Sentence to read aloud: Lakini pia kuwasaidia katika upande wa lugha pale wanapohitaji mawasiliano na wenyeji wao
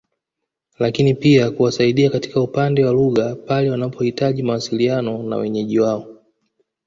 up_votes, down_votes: 2, 0